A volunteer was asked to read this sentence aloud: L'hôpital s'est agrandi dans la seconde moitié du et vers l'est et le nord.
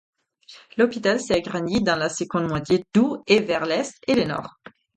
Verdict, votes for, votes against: accepted, 4, 0